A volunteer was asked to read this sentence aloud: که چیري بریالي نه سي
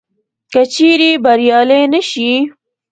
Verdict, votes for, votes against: rejected, 1, 2